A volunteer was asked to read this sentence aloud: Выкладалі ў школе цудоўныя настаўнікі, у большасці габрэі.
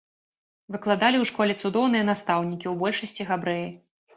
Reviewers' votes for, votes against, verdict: 2, 0, accepted